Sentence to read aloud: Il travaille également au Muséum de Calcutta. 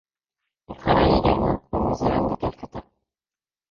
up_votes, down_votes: 0, 2